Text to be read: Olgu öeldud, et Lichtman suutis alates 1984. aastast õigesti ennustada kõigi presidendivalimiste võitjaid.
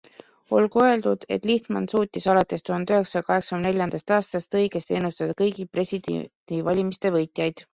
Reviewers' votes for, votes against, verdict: 0, 2, rejected